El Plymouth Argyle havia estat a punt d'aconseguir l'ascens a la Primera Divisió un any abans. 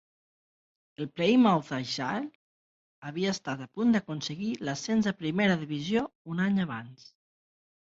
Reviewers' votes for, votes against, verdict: 6, 2, accepted